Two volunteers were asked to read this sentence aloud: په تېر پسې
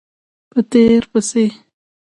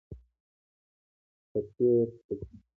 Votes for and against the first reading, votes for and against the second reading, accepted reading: 2, 1, 1, 2, first